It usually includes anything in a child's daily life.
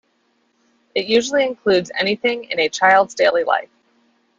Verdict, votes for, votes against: accepted, 2, 1